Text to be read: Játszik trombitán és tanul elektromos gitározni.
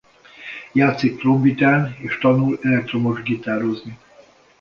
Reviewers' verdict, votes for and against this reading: accepted, 2, 0